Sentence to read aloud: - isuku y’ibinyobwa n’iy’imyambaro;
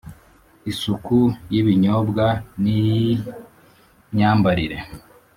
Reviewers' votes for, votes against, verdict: 1, 3, rejected